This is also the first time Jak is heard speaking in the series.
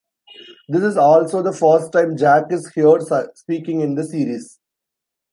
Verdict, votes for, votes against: rejected, 1, 2